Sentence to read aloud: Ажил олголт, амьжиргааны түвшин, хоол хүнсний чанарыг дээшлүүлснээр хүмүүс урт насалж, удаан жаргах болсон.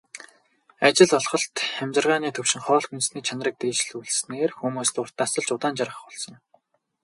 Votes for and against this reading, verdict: 2, 0, accepted